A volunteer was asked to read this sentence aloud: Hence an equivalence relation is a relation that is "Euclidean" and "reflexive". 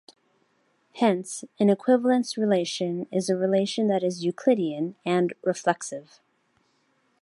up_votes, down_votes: 2, 1